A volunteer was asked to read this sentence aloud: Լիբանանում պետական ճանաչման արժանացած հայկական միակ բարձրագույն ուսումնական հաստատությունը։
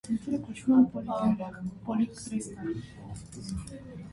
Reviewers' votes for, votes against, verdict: 0, 2, rejected